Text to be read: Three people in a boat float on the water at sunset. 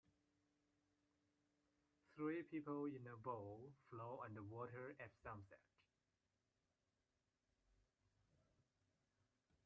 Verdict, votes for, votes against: accepted, 2, 0